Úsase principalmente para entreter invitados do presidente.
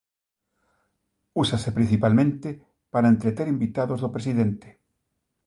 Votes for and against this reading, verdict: 2, 0, accepted